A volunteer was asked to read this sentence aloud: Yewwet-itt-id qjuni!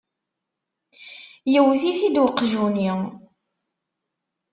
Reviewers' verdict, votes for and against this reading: rejected, 0, 2